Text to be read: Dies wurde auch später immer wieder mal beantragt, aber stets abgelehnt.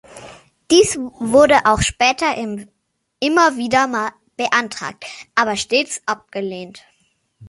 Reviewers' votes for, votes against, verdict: 1, 2, rejected